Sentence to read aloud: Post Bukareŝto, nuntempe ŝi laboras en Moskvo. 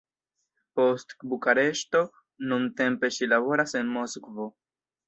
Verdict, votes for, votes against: rejected, 1, 2